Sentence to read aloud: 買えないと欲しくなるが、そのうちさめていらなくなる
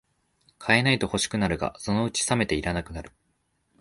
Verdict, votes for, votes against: accepted, 2, 0